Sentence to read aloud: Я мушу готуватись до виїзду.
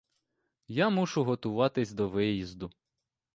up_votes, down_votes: 2, 0